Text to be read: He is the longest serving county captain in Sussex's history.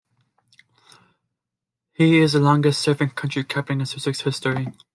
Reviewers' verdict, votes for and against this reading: rejected, 0, 2